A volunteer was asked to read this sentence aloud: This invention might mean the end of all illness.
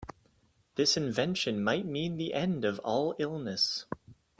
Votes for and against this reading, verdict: 2, 0, accepted